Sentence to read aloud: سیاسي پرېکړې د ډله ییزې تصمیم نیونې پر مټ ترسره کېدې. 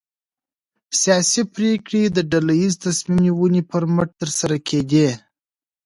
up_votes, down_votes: 2, 1